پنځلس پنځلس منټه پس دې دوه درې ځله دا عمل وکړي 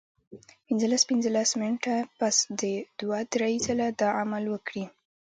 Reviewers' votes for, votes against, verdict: 1, 2, rejected